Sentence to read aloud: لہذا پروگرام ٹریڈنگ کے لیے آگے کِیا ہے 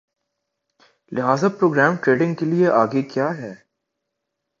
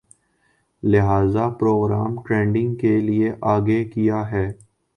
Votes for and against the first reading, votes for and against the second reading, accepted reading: 2, 0, 1, 2, first